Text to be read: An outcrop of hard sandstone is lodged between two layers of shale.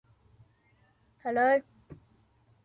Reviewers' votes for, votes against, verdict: 0, 2, rejected